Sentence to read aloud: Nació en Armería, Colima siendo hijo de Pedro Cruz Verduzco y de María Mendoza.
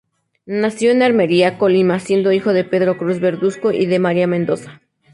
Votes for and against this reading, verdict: 2, 0, accepted